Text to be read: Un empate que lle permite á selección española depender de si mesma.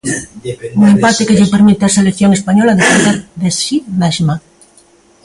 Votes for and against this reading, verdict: 2, 0, accepted